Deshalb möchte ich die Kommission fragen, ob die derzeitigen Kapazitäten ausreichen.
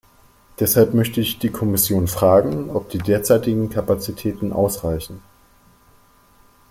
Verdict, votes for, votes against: accepted, 2, 0